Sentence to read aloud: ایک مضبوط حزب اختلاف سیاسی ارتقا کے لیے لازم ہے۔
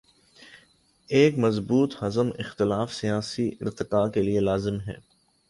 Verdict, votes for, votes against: accepted, 5, 1